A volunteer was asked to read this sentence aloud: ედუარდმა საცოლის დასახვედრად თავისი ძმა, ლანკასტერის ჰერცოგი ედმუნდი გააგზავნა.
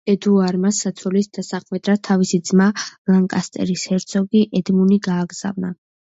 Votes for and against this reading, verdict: 0, 2, rejected